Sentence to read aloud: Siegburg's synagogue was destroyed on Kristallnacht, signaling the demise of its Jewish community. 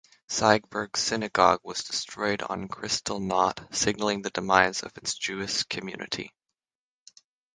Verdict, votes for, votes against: rejected, 3, 3